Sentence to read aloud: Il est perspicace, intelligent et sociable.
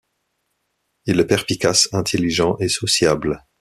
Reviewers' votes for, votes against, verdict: 1, 2, rejected